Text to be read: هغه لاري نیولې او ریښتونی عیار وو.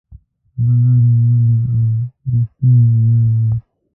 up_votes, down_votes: 1, 2